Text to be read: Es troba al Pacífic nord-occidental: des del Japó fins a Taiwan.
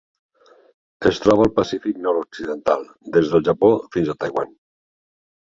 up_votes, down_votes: 3, 0